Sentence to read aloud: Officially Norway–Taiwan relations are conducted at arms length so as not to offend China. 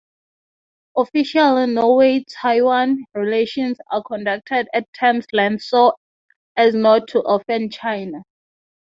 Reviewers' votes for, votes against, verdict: 0, 15, rejected